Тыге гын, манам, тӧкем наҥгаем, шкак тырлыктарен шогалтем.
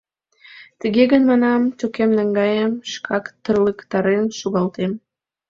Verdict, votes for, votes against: accepted, 2, 0